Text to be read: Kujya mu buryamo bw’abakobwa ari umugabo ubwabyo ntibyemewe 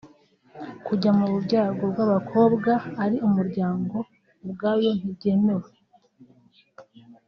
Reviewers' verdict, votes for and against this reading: rejected, 0, 2